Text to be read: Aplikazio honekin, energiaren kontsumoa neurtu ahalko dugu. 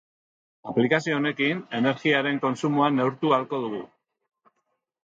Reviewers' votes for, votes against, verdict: 2, 0, accepted